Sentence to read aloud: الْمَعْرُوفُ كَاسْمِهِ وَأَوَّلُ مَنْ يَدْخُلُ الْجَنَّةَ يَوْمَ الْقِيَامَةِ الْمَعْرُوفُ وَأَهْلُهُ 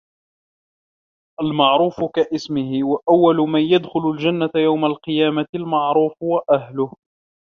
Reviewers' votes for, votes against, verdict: 2, 0, accepted